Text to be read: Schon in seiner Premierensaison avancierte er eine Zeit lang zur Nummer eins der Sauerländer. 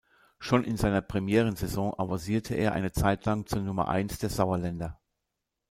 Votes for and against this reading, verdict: 1, 2, rejected